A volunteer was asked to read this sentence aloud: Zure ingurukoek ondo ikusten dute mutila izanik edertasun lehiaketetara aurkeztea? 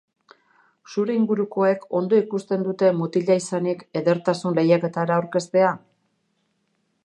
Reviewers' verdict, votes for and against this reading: rejected, 1, 2